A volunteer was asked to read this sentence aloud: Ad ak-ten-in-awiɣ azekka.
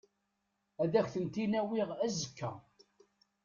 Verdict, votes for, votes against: rejected, 0, 2